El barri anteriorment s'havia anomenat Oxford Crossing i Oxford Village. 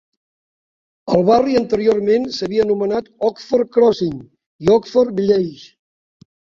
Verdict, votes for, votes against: rejected, 1, 2